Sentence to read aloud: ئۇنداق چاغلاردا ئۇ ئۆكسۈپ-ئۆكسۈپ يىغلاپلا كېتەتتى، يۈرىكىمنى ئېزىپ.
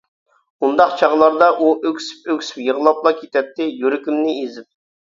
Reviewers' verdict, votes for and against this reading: accepted, 2, 0